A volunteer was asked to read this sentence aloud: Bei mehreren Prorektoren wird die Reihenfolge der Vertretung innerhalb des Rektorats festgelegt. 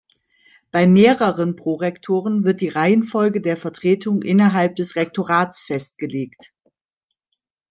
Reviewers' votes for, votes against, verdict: 2, 0, accepted